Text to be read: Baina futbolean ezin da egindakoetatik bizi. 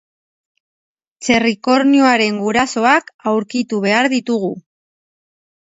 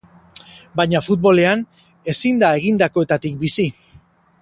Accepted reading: second